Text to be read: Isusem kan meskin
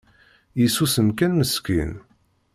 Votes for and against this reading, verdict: 2, 0, accepted